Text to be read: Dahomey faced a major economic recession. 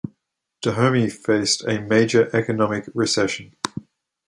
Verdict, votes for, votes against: accepted, 2, 0